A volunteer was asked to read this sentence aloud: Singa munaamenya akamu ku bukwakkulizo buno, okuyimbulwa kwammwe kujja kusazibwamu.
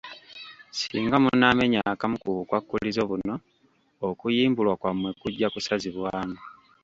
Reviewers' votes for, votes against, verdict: 1, 2, rejected